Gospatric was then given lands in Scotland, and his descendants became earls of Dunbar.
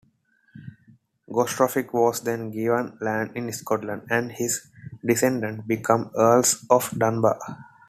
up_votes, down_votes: 2, 0